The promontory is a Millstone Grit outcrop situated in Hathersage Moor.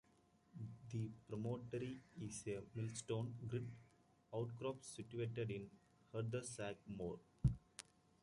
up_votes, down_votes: 0, 2